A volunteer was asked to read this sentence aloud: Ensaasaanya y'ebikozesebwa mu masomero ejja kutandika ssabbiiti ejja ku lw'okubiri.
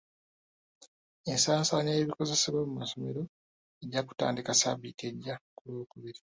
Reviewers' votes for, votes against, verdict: 2, 0, accepted